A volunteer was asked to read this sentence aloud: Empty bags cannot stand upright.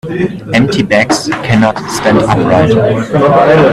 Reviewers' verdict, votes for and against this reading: rejected, 1, 2